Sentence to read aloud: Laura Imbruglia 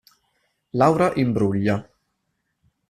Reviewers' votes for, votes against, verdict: 2, 0, accepted